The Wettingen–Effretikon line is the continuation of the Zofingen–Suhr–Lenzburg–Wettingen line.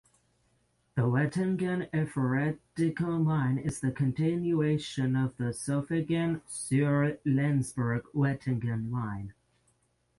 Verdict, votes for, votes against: rejected, 0, 3